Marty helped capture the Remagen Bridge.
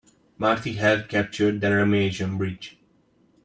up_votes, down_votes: 3, 0